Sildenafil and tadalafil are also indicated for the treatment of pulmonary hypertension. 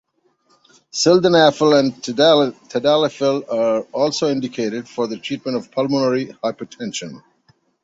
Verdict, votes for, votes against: rejected, 0, 2